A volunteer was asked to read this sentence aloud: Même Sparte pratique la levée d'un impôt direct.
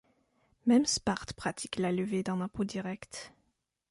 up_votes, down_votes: 2, 0